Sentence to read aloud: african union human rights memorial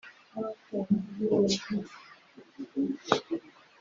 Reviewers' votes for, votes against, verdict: 1, 2, rejected